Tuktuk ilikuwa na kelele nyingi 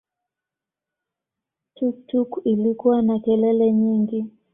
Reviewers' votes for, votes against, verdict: 2, 0, accepted